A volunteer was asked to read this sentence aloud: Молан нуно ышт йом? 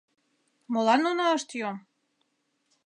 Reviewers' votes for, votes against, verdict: 2, 0, accepted